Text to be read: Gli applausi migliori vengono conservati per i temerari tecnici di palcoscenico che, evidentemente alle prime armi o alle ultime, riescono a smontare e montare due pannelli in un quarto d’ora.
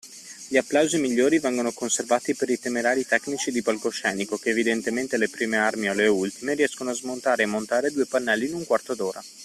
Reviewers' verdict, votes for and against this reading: accepted, 2, 0